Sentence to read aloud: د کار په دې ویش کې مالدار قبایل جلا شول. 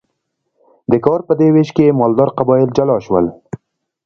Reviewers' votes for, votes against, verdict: 0, 2, rejected